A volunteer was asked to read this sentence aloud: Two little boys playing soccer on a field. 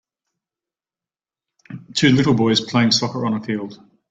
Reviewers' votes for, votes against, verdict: 2, 0, accepted